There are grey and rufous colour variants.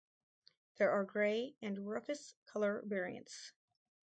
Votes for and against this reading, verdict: 2, 2, rejected